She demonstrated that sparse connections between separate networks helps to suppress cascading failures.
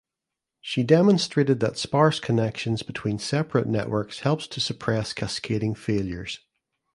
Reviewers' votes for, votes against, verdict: 2, 0, accepted